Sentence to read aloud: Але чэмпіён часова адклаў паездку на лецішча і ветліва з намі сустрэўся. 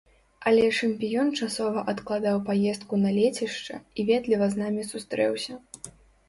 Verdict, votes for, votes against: rejected, 1, 2